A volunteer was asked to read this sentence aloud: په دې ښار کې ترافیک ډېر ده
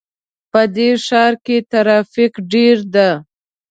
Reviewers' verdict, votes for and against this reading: accepted, 2, 0